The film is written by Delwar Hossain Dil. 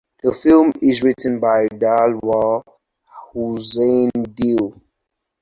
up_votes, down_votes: 4, 0